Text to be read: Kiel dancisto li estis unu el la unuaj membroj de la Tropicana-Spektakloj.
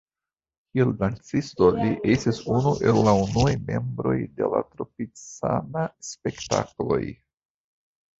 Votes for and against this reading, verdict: 2, 1, accepted